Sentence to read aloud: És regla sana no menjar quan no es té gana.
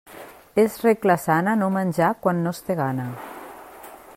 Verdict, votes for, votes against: accepted, 3, 0